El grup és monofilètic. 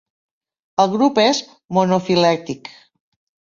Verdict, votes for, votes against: accepted, 2, 0